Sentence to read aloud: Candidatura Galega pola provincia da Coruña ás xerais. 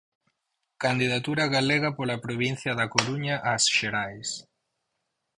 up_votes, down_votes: 4, 0